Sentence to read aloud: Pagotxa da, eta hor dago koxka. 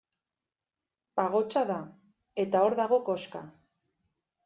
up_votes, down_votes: 2, 0